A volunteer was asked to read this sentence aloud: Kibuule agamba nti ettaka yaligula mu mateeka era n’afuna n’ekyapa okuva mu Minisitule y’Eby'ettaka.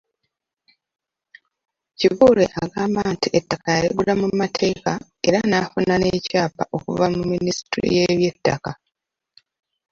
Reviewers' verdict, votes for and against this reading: rejected, 0, 2